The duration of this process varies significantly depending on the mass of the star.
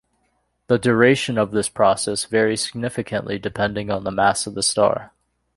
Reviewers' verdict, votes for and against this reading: accepted, 2, 0